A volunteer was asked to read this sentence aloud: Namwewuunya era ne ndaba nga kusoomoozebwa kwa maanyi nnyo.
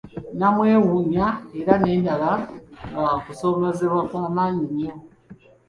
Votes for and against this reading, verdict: 2, 1, accepted